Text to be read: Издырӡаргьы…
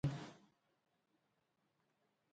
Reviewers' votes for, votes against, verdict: 2, 1, accepted